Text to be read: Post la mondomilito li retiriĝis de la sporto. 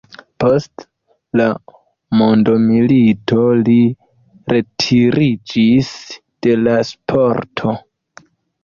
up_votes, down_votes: 2, 0